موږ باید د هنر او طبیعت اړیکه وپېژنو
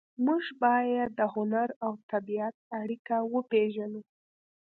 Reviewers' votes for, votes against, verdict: 2, 0, accepted